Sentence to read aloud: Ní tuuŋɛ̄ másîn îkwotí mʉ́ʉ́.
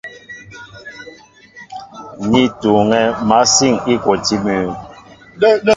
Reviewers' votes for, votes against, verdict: 2, 0, accepted